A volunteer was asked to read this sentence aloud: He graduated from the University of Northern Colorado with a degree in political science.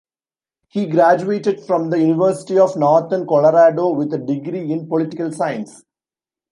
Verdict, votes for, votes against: accepted, 2, 0